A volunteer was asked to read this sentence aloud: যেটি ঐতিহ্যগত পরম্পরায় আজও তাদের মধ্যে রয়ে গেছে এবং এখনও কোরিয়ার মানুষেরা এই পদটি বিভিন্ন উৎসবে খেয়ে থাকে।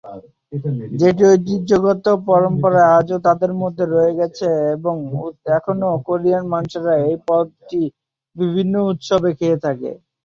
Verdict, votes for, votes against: rejected, 0, 3